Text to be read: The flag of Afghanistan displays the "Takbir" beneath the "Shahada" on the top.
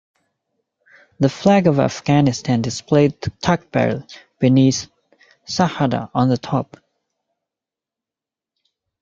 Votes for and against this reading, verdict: 1, 2, rejected